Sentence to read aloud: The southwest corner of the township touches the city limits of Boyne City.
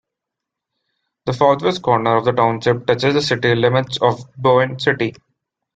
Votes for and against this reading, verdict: 2, 0, accepted